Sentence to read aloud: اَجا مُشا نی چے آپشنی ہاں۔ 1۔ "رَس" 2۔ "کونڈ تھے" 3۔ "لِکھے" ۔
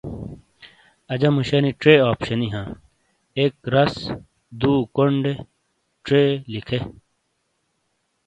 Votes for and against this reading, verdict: 0, 2, rejected